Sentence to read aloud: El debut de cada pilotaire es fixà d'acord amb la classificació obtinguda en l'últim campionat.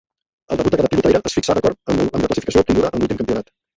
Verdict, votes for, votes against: rejected, 0, 2